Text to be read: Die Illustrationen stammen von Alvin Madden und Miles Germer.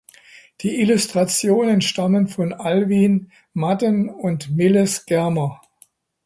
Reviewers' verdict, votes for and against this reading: accepted, 2, 1